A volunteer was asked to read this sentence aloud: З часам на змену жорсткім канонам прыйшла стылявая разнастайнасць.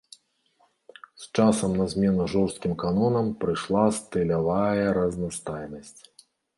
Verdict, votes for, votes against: accepted, 2, 0